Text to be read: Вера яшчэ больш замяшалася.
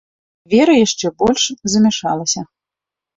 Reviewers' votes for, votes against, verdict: 2, 0, accepted